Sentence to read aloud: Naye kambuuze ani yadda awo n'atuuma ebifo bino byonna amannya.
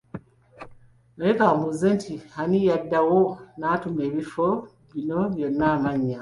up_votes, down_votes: 2, 0